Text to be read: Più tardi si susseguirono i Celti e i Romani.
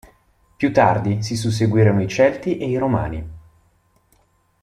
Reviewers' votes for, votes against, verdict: 2, 0, accepted